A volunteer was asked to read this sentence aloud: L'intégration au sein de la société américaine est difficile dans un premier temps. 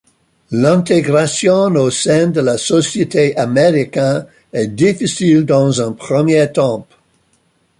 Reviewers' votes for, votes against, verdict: 1, 2, rejected